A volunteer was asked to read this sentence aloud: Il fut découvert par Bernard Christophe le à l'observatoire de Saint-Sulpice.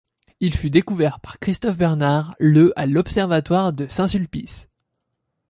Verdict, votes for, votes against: rejected, 1, 2